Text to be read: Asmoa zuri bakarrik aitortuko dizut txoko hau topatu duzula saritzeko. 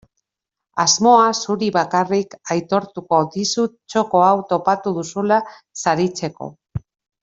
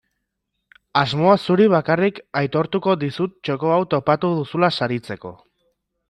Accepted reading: second